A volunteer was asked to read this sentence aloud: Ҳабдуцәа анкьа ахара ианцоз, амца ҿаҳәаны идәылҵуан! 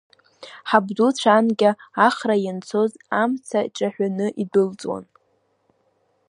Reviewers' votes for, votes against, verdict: 2, 1, accepted